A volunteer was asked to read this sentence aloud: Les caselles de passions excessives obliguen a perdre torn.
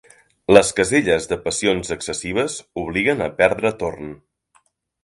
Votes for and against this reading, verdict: 3, 0, accepted